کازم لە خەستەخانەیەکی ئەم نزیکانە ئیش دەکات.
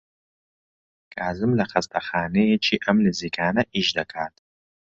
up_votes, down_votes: 2, 0